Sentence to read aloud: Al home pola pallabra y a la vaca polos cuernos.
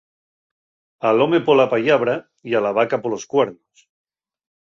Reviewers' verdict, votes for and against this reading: accepted, 2, 0